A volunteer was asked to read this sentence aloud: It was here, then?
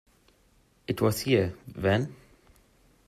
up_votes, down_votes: 2, 0